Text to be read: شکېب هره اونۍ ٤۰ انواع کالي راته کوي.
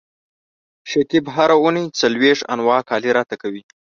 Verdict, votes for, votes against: rejected, 0, 2